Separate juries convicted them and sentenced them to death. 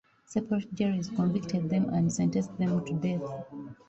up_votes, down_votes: 2, 0